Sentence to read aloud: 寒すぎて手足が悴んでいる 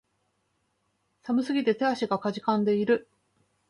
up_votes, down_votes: 2, 0